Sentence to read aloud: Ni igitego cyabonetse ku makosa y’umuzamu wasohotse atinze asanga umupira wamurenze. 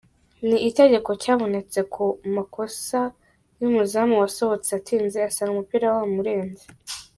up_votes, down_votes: 1, 2